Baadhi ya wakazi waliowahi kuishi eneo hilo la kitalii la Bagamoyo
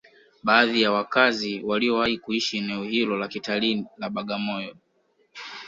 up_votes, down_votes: 2, 1